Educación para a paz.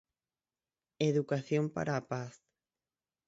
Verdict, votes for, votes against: rejected, 0, 6